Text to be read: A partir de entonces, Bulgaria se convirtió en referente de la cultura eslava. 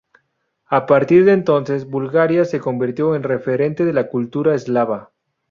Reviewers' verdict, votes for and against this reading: accepted, 2, 0